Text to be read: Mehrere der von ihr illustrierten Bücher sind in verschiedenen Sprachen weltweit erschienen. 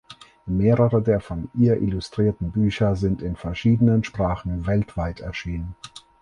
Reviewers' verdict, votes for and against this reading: accepted, 4, 0